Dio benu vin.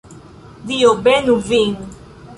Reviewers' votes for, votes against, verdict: 2, 0, accepted